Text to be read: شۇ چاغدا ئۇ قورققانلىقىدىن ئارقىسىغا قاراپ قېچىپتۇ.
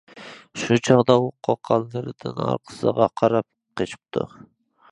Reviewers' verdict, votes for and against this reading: rejected, 0, 2